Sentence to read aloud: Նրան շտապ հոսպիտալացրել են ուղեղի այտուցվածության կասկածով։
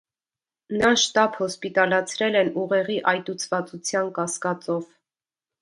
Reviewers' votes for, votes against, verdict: 0, 2, rejected